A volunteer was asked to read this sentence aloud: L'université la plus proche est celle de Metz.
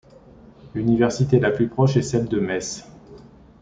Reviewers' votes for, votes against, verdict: 2, 0, accepted